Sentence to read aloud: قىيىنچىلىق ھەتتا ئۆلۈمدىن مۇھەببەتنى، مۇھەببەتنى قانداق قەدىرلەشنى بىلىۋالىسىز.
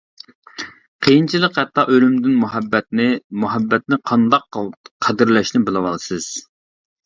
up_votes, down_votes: 1, 2